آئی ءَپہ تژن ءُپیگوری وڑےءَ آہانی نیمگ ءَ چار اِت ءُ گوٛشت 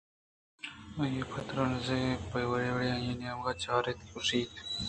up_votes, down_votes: 2, 0